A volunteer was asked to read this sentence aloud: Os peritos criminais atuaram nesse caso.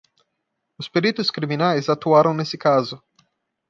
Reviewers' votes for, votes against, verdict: 2, 0, accepted